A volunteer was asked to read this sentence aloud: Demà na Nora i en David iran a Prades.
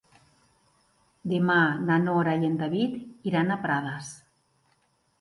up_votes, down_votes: 2, 0